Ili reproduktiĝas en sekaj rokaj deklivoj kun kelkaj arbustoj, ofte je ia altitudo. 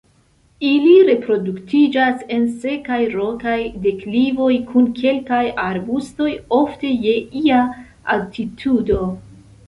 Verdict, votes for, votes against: accepted, 2, 0